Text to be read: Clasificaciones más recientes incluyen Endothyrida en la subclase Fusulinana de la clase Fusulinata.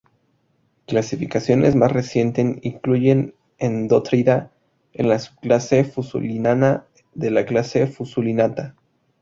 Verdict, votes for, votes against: accepted, 2, 0